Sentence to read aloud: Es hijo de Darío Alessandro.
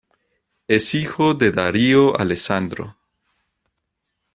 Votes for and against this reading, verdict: 2, 0, accepted